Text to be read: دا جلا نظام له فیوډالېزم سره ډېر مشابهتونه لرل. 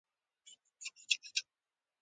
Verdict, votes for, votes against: accepted, 2, 1